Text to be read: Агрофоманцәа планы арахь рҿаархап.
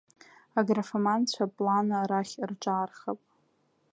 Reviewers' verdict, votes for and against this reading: accepted, 2, 0